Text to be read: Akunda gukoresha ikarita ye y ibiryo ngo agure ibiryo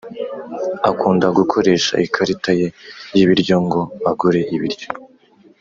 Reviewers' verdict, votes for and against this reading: accepted, 2, 0